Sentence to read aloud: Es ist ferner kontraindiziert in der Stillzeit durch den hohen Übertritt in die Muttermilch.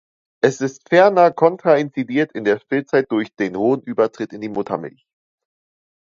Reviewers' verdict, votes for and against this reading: rejected, 0, 2